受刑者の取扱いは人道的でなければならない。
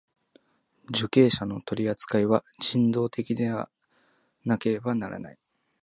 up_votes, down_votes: 1, 2